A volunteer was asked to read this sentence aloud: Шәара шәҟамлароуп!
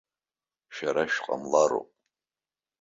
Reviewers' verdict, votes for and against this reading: accepted, 2, 0